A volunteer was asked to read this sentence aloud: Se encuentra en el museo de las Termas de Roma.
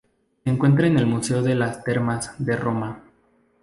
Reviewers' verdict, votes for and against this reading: rejected, 0, 2